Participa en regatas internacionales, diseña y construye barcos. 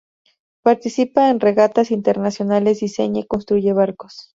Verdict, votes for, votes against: accepted, 2, 0